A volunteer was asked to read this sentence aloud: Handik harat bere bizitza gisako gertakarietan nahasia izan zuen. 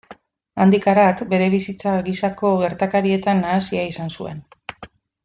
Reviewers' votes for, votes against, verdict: 1, 2, rejected